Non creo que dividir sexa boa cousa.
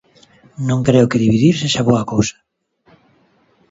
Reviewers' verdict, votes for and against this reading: accepted, 2, 0